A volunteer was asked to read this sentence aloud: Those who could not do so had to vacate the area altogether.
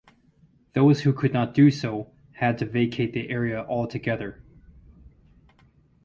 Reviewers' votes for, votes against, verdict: 2, 2, rejected